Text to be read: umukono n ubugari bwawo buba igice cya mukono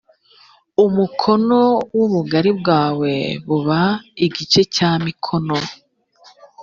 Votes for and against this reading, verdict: 2, 3, rejected